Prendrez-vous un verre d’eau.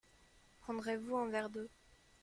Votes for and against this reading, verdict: 2, 1, accepted